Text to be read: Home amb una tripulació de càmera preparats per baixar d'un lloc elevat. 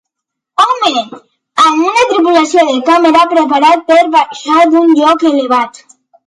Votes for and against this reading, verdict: 2, 1, accepted